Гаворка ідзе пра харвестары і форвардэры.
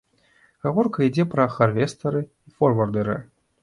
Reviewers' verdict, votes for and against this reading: accepted, 2, 0